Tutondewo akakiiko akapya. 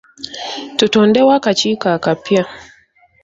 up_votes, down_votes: 2, 0